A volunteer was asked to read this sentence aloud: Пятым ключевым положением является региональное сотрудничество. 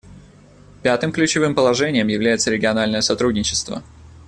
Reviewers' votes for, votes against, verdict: 2, 0, accepted